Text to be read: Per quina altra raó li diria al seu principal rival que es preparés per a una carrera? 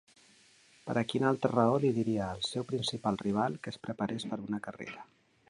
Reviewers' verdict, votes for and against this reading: rejected, 0, 2